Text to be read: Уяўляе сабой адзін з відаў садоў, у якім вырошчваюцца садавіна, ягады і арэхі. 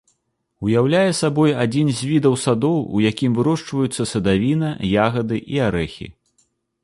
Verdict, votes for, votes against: accepted, 2, 0